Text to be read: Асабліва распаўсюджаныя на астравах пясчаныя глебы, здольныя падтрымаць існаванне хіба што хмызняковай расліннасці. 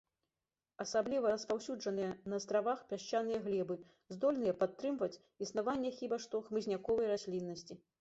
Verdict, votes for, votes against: rejected, 0, 2